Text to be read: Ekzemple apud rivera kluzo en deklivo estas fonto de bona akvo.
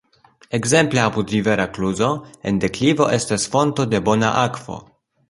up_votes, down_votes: 2, 0